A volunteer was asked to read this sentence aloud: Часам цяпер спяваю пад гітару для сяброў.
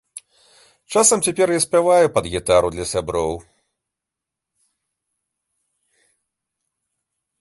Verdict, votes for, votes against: rejected, 0, 2